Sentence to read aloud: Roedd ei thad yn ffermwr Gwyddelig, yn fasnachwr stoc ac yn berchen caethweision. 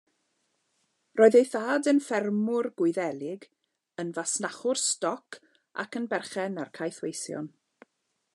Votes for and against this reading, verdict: 0, 2, rejected